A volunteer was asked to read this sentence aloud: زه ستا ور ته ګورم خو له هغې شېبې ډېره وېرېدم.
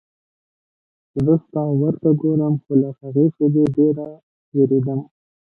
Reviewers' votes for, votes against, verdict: 0, 2, rejected